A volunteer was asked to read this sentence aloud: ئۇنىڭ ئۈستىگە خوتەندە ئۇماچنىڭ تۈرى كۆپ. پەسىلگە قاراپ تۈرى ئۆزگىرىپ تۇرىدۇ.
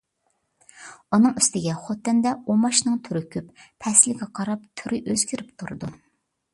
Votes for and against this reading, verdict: 2, 0, accepted